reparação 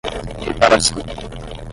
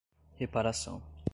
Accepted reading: second